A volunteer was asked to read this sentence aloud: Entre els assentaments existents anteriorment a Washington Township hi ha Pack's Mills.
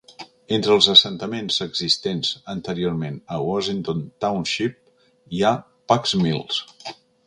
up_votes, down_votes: 2, 0